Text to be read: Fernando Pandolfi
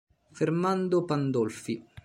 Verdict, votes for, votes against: rejected, 0, 2